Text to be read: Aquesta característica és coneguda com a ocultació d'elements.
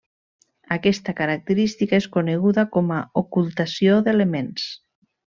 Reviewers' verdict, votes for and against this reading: accepted, 3, 0